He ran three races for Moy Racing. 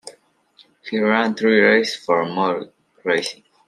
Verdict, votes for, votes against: rejected, 0, 2